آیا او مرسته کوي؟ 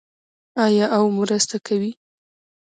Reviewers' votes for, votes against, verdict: 2, 0, accepted